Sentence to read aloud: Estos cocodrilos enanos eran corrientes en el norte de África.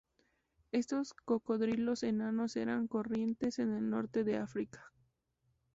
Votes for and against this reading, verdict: 4, 0, accepted